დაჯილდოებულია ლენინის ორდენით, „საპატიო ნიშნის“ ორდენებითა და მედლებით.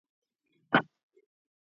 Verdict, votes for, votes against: rejected, 0, 2